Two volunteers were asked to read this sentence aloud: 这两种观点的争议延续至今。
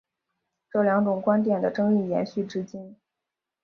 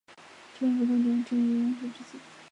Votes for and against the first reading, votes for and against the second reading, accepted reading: 4, 0, 1, 4, first